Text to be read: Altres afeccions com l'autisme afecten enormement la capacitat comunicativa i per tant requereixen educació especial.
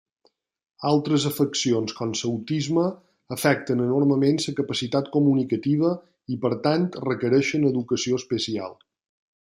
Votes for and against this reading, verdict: 0, 2, rejected